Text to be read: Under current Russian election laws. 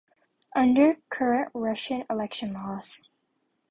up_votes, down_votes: 3, 0